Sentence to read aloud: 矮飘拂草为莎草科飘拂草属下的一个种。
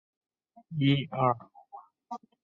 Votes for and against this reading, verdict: 0, 3, rejected